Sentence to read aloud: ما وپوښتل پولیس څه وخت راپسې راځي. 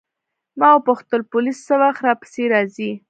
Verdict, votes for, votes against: accepted, 2, 1